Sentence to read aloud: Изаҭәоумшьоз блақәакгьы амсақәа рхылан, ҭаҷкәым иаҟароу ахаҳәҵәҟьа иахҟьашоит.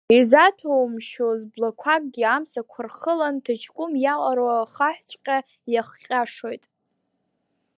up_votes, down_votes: 0, 2